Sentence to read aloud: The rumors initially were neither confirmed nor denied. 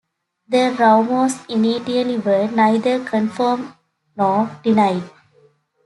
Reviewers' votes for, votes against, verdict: 0, 2, rejected